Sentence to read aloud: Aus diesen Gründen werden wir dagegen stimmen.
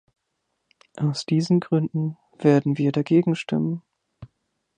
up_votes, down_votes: 3, 0